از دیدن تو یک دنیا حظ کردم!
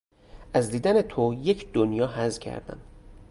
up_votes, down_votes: 2, 0